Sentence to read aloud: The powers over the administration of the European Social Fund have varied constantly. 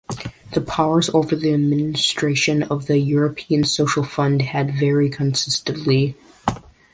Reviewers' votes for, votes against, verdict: 0, 2, rejected